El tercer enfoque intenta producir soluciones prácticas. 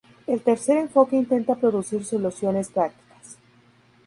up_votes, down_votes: 2, 0